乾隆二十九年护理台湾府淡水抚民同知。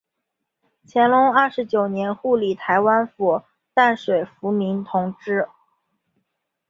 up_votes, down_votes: 4, 0